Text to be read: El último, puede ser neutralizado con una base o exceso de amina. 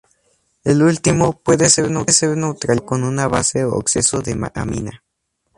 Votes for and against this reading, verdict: 0, 4, rejected